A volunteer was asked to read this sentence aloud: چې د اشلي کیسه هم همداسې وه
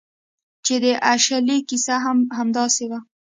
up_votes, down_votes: 2, 0